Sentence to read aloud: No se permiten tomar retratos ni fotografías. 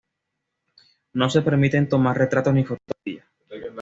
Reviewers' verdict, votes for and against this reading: rejected, 1, 2